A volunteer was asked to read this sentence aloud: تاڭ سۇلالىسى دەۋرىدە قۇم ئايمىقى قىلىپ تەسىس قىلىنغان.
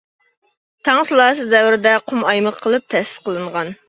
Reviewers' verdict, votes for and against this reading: rejected, 1, 2